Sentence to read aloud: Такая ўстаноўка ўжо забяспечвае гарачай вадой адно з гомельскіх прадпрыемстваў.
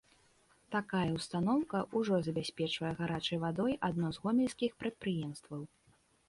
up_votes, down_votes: 2, 1